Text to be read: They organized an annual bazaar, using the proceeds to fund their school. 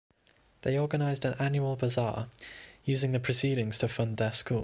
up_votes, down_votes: 1, 2